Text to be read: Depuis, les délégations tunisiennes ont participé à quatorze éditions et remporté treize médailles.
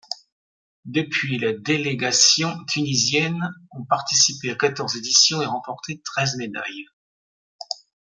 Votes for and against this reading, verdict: 2, 0, accepted